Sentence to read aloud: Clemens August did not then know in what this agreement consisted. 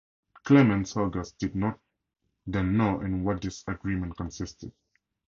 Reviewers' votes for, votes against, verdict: 0, 2, rejected